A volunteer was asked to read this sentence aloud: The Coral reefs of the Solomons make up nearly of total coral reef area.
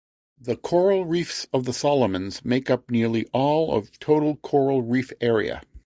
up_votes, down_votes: 0, 2